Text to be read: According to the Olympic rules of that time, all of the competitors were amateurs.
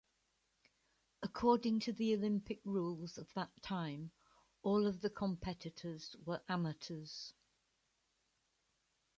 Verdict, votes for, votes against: accepted, 2, 0